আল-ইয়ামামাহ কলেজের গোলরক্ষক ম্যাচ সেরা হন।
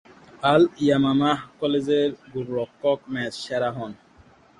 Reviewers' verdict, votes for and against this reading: accepted, 4, 0